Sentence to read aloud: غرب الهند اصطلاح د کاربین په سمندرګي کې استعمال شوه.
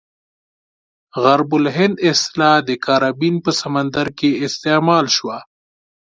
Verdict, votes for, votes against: accepted, 2, 0